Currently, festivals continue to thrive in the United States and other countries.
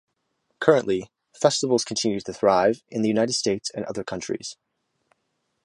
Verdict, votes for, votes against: accepted, 2, 0